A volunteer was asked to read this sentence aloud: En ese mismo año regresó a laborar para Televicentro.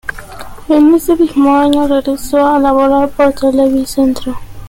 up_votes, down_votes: 0, 2